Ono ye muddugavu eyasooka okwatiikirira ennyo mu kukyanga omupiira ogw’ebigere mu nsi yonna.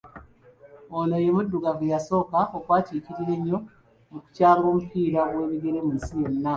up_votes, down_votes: 3, 1